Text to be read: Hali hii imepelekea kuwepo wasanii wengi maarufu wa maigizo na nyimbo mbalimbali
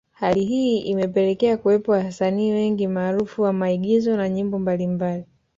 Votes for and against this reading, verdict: 2, 0, accepted